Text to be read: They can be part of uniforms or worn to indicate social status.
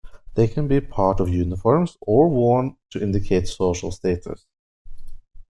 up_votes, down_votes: 2, 0